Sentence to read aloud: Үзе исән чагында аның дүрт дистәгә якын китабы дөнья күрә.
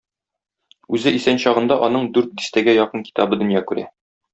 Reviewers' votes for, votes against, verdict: 2, 0, accepted